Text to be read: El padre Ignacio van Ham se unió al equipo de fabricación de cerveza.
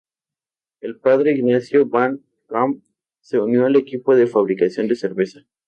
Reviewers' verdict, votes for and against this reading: accepted, 2, 0